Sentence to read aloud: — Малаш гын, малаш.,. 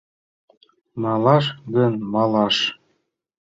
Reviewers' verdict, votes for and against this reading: accepted, 2, 0